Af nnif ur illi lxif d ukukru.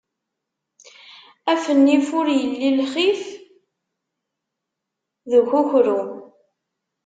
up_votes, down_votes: 0, 2